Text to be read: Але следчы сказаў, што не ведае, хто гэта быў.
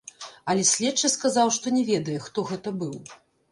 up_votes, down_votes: 1, 3